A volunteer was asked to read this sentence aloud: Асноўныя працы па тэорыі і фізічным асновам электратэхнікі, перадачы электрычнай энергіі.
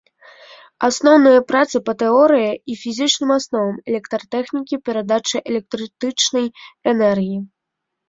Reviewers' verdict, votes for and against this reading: rejected, 0, 2